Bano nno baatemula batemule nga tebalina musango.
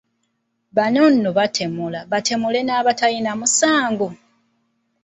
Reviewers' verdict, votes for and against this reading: accepted, 2, 0